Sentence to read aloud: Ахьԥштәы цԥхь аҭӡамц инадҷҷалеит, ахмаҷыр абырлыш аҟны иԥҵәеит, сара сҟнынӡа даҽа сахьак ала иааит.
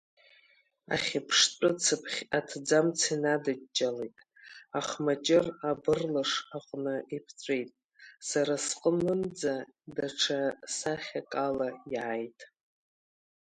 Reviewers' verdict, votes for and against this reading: accepted, 2, 1